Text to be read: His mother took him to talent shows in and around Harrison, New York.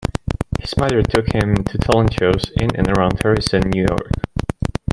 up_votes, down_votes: 2, 1